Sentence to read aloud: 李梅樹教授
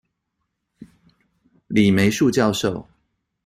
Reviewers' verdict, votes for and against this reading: accepted, 2, 0